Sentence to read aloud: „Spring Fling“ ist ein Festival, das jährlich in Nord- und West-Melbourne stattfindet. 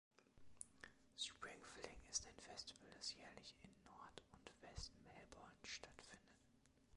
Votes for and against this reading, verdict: 0, 2, rejected